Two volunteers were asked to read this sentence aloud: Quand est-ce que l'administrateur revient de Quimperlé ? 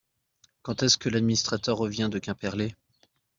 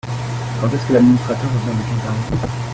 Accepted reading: first